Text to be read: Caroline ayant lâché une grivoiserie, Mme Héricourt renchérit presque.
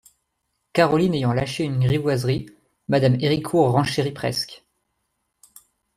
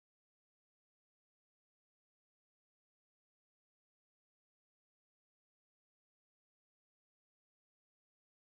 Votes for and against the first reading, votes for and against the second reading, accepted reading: 2, 1, 0, 2, first